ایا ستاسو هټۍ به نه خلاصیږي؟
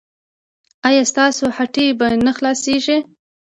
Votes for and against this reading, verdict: 1, 2, rejected